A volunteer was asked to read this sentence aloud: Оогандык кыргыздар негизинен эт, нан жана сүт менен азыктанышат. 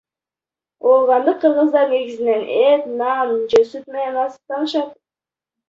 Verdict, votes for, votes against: rejected, 0, 2